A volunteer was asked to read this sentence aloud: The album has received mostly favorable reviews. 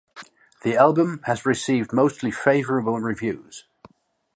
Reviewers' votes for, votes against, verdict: 1, 2, rejected